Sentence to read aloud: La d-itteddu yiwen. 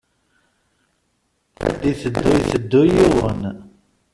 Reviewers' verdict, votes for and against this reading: rejected, 0, 2